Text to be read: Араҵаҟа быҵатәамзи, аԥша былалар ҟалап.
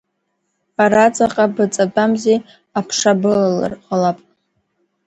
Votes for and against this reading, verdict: 0, 2, rejected